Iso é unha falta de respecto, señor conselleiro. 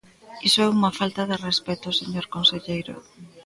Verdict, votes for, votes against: rejected, 1, 2